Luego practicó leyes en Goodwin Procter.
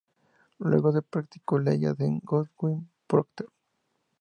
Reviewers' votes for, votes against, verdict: 0, 2, rejected